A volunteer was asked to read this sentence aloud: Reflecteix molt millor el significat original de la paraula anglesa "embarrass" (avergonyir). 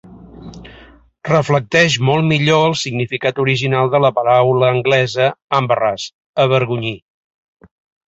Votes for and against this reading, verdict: 3, 0, accepted